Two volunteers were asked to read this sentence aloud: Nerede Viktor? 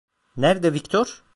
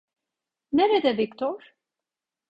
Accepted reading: second